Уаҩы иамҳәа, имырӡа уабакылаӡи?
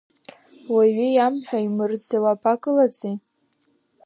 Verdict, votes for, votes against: accepted, 2, 0